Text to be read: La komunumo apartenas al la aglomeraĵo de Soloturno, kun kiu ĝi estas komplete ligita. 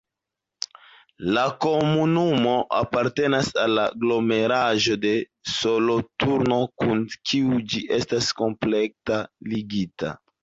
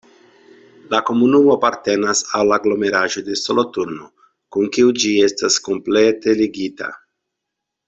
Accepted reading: second